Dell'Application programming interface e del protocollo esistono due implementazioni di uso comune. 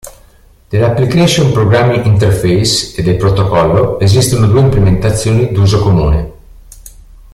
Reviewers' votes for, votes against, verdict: 2, 1, accepted